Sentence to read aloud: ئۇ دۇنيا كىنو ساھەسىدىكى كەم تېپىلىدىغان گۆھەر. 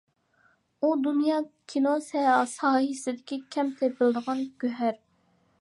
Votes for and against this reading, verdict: 0, 2, rejected